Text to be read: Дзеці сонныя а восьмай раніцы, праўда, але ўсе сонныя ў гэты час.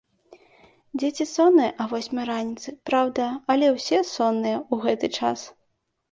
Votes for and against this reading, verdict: 2, 0, accepted